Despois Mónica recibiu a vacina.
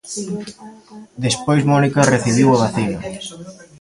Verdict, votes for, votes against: rejected, 0, 2